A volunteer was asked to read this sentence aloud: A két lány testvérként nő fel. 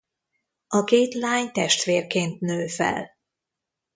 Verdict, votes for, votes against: accepted, 2, 0